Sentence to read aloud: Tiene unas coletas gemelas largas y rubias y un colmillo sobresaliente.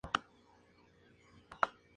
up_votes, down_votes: 0, 2